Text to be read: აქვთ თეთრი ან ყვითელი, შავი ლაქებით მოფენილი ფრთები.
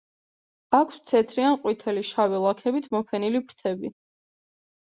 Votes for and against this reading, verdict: 2, 0, accepted